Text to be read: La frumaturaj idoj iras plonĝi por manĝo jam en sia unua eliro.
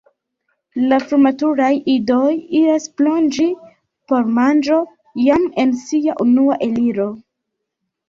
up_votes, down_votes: 0, 2